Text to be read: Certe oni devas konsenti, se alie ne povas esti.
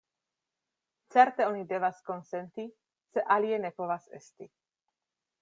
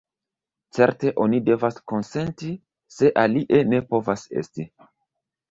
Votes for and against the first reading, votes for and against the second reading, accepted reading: 2, 0, 1, 2, first